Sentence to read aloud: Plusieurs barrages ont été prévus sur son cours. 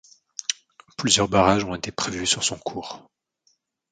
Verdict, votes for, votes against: accepted, 2, 0